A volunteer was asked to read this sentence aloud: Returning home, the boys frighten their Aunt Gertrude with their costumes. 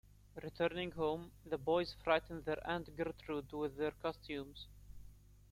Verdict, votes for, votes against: accepted, 2, 1